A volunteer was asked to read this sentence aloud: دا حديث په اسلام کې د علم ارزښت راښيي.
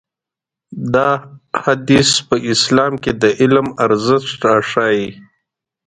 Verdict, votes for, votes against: rejected, 1, 2